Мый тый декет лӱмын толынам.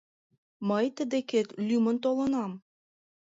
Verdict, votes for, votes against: accepted, 2, 1